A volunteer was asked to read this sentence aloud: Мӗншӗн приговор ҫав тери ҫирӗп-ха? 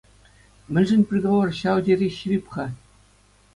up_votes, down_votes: 2, 0